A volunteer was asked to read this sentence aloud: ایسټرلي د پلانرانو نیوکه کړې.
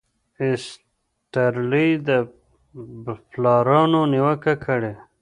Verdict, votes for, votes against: rejected, 0, 2